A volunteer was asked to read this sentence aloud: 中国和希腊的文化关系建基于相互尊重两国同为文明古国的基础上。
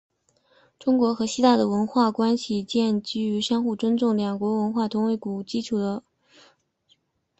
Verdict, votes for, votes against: rejected, 0, 3